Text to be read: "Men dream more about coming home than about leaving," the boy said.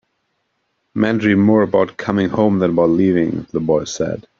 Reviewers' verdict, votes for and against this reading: accepted, 3, 0